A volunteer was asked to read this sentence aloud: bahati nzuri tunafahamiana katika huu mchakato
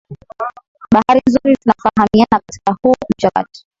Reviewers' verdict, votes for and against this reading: rejected, 1, 4